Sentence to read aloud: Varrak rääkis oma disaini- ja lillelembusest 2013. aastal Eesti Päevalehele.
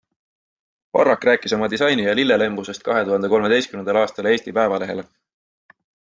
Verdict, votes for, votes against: rejected, 0, 2